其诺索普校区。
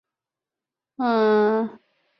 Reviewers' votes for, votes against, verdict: 0, 2, rejected